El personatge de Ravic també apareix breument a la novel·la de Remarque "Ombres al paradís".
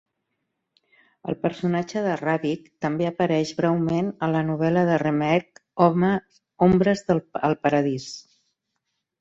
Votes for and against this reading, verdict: 2, 10, rejected